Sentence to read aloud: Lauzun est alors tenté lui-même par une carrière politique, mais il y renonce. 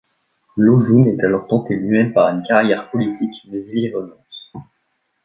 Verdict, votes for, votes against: rejected, 1, 2